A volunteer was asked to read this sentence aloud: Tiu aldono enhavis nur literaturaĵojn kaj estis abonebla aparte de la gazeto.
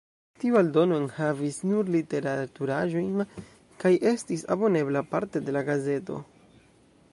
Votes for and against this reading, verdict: 0, 2, rejected